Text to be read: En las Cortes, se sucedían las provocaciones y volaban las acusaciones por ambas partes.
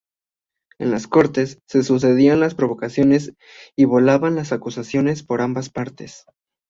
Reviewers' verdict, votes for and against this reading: accepted, 3, 0